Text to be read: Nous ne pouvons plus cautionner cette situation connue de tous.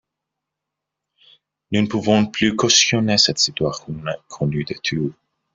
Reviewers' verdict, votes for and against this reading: rejected, 0, 2